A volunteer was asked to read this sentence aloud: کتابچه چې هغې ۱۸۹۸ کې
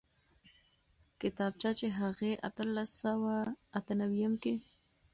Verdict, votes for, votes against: rejected, 0, 2